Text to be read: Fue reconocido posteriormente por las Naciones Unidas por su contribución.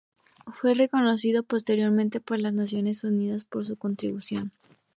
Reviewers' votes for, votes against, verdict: 4, 0, accepted